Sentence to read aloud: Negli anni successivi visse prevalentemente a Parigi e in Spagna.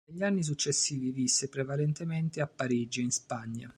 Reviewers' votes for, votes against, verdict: 0, 2, rejected